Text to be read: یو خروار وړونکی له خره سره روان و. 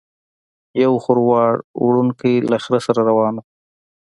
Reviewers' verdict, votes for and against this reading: accepted, 2, 0